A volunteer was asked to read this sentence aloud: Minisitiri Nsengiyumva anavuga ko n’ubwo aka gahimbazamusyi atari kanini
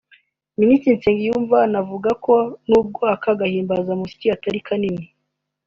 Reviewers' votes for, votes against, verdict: 2, 0, accepted